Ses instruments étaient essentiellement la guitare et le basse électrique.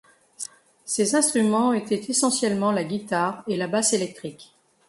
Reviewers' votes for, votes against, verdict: 1, 2, rejected